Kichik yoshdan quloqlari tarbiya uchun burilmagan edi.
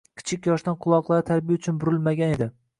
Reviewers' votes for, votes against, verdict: 2, 0, accepted